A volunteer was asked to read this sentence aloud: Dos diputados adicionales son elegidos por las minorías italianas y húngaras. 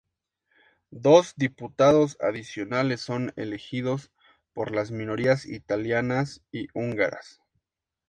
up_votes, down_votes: 0, 2